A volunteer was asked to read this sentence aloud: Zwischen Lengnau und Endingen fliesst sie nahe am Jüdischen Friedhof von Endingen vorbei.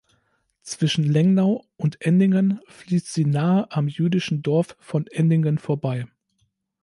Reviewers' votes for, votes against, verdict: 1, 3, rejected